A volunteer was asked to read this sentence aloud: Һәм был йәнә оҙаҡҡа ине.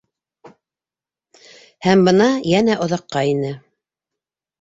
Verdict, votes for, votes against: rejected, 0, 2